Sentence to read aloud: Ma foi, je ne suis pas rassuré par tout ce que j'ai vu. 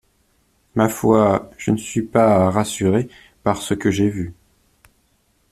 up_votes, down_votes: 0, 2